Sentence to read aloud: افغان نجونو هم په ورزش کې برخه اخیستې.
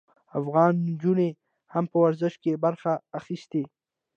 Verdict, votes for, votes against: accepted, 2, 0